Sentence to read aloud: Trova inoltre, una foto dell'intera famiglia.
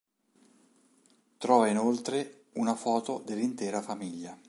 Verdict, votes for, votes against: accepted, 3, 0